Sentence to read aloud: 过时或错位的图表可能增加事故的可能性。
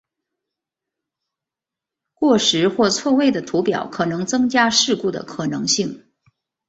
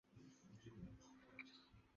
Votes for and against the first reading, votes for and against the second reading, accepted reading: 4, 0, 0, 3, first